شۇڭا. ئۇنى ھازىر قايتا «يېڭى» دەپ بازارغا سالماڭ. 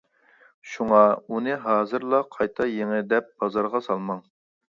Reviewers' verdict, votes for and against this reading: rejected, 0, 2